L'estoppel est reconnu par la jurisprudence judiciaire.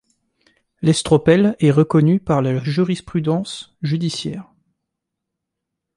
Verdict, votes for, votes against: rejected, 0, 2